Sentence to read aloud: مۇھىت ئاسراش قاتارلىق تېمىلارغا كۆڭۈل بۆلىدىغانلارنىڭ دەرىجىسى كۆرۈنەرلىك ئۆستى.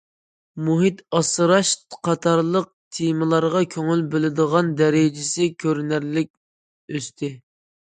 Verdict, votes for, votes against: rejected, 0, 2